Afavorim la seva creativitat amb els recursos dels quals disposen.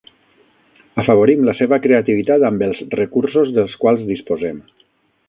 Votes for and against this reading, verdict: 3, 6, rejected